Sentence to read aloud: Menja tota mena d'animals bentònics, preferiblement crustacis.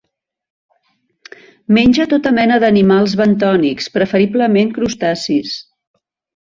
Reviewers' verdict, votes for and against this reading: accepted, 2, 0